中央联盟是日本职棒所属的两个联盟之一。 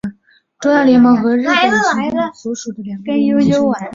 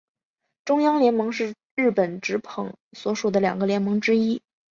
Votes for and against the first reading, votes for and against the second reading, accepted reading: 1, 3, 4, 3, second